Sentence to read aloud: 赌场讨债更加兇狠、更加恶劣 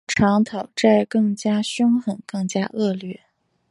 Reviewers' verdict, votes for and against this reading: accepted, 2, 1